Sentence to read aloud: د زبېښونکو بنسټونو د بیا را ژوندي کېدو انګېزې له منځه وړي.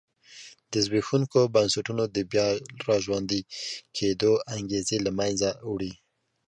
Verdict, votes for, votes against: accepted, 2, 0